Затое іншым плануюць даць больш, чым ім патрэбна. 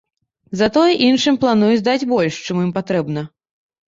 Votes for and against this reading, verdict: 2, 0, accepted